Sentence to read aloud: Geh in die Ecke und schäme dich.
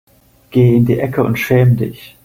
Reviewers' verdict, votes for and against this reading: rejected, 0, 2